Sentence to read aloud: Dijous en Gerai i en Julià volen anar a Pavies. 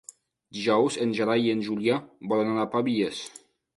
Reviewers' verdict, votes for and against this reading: accepted, 2, 0